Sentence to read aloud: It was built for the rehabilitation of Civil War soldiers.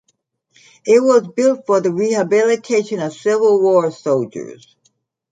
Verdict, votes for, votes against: accepted, 3, 0